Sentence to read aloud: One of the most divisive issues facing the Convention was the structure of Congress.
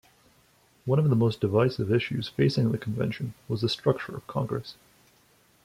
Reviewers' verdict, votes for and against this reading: accepted, 2, 0